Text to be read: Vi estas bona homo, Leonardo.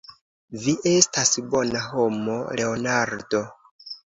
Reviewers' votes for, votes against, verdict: 2, 0, accepted